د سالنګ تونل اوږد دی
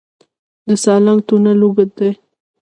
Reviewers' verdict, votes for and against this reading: rejected, 1, 2